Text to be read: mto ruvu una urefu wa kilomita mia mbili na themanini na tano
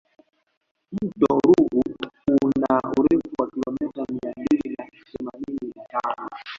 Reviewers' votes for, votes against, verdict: 1, 2, rejected